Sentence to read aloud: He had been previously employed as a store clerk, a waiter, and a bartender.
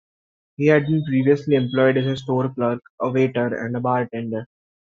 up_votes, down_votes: 2, 0